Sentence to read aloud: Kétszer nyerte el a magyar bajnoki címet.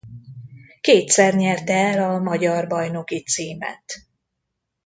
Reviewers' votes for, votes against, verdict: 2, 0, accepted